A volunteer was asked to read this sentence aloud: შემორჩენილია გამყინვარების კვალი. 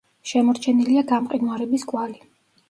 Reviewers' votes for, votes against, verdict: 2, 1, accepted